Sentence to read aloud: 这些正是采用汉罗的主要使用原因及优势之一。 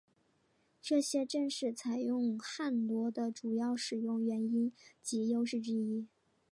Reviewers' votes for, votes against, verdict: 2, 1, accepted